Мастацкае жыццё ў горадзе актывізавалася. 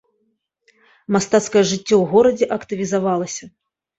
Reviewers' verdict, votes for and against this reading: accepted, 2, 0